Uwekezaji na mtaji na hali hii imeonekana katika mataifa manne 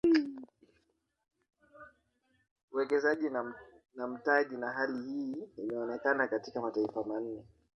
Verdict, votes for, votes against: rejected, 1, 2